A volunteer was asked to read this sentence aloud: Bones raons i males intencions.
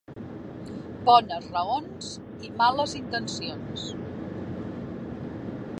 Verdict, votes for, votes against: accepted, 2, 0